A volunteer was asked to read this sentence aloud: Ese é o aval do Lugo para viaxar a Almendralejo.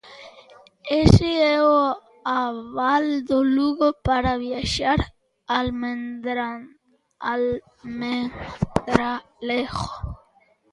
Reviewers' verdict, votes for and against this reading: rejected, 0, 2